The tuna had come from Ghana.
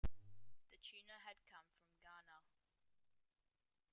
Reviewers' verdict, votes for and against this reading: rejected, 1, 2